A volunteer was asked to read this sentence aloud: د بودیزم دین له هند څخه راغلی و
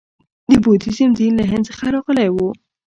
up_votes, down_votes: 2, 0